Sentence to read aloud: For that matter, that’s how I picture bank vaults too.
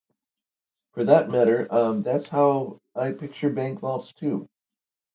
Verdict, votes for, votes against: accepted, 2, 0